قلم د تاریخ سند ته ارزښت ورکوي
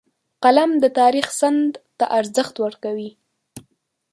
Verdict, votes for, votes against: rejected, 0, 2